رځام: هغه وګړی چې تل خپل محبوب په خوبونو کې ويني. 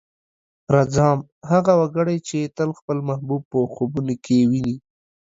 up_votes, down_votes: 2, 0